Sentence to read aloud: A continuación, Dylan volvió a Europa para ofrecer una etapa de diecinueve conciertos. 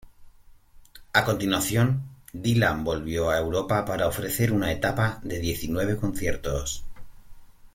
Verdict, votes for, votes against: accepted, 2, 0